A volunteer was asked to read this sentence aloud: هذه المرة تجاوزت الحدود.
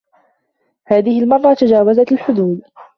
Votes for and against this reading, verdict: 2, 0, accepted